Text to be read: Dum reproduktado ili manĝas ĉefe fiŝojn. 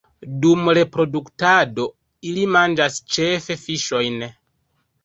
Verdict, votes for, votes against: rejected, 0, 2